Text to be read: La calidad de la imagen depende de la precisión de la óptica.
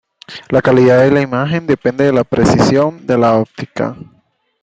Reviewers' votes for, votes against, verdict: 2, 0, accepted